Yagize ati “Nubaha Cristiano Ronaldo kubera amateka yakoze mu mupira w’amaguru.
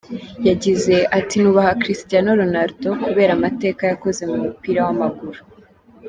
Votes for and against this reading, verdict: 2, 0, accepted